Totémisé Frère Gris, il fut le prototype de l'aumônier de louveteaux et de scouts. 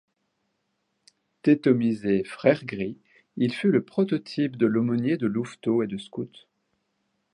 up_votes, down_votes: 0, 2